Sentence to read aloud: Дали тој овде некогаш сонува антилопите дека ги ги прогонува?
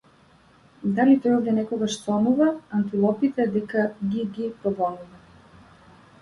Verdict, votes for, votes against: rejected, 0, 2